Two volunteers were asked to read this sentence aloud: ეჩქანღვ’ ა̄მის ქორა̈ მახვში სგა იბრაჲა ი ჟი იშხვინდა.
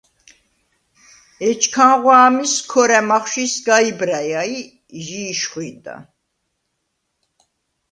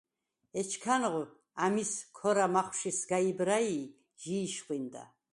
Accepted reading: first